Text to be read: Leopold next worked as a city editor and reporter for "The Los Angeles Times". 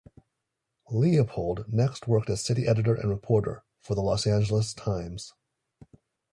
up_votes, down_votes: 1, 2